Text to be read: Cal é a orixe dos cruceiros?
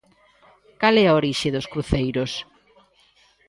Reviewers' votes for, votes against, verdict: 2, 0, accepted